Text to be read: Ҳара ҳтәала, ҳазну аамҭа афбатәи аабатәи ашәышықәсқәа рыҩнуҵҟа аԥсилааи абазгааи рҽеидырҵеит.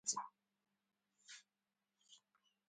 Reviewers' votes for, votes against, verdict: 0, 2, rejected